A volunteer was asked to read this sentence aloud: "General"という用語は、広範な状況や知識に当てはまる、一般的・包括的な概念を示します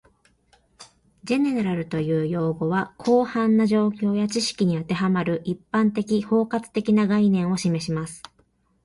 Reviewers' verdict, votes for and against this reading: accepted, 2, 1